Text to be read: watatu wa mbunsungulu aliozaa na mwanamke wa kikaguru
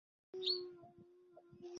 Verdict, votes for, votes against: rejected, 1, 2